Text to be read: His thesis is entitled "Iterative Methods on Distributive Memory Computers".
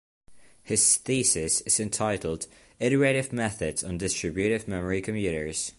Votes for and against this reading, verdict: 2, 0, accepted